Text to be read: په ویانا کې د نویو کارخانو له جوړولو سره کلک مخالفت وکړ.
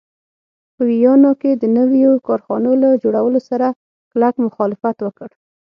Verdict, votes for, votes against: accepted, 6, 0